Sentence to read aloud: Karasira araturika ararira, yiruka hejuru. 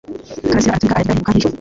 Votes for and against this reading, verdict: 1, 3, rejected